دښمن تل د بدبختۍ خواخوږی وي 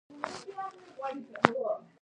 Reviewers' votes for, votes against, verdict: 0, 2, rejected